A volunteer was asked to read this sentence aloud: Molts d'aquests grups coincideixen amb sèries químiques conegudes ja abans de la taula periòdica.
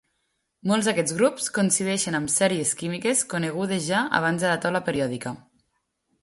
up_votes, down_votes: 2, 0